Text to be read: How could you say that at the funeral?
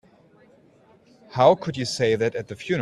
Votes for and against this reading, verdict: 2, 1, accepted